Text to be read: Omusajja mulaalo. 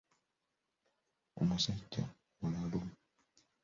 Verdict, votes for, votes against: rejected, 0, 2